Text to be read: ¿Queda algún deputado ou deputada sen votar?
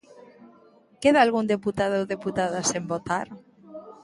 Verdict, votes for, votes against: rejected, 1, 2